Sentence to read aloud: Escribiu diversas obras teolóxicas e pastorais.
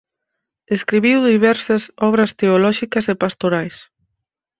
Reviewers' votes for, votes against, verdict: 4, 0, accepted